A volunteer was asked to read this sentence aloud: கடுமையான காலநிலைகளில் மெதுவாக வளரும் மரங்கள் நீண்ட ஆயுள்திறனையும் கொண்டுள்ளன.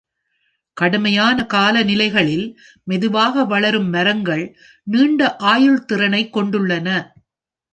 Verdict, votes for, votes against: rejected, 1, 2